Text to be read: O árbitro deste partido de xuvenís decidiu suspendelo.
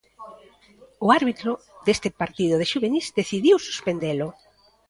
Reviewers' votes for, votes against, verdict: 2, 1, accepted